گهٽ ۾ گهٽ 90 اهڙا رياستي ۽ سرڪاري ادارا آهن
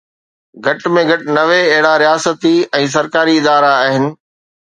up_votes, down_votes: 0, 2